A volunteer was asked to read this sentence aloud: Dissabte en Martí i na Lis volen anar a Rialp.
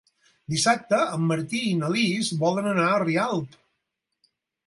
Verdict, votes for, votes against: accepted, 6, 0